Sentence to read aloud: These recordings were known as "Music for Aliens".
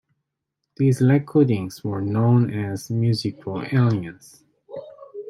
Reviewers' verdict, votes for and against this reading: rejected, 0, 2